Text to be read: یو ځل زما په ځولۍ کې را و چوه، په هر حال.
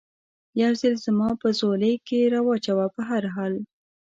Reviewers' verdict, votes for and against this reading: accepted, 2, 0